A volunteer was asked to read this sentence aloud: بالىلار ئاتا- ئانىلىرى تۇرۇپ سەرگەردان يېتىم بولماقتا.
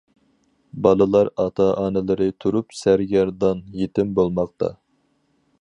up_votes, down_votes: 4, 0